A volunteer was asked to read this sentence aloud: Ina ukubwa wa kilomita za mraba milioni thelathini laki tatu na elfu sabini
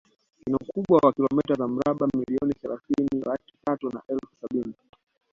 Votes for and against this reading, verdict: 2, 0, accepted